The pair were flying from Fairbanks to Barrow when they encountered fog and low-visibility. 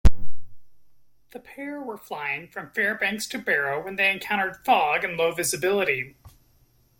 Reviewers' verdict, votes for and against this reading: accepted, 2, 0